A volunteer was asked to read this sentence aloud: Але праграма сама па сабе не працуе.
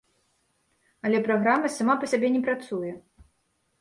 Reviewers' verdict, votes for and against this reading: rejected, 0, 2